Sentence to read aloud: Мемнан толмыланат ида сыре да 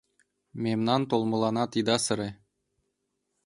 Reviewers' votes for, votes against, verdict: 1, 2, rejected